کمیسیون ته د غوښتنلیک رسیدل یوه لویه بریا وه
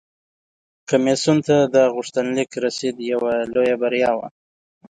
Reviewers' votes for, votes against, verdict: 1, 2, rejected